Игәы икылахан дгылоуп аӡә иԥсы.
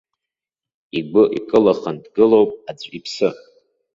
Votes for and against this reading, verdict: 2, 0, accepted